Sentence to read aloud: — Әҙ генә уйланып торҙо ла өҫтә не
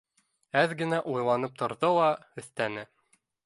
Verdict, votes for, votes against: accepted, 2, 0